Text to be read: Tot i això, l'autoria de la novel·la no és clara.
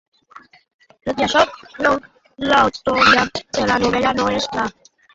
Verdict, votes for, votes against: rejected, 0, 2